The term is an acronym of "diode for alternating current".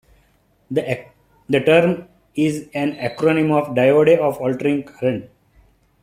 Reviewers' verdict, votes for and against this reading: rejected, 1, 2